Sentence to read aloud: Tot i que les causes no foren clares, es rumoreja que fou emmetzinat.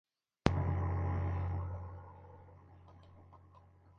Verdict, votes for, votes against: rejected, 0, 2